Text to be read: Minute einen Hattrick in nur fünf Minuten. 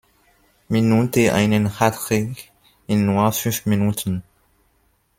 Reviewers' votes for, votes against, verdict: 0, 2, rejected